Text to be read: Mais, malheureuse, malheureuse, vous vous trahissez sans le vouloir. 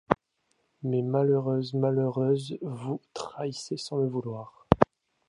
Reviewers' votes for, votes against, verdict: 2, 0, accepted